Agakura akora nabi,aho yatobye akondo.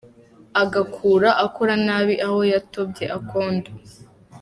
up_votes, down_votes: 2, 0